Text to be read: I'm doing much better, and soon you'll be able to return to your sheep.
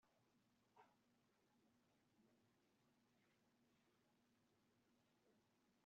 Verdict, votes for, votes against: rejected, 0, 3